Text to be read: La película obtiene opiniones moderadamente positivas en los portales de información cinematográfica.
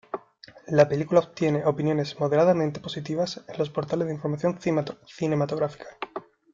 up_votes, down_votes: 1, 2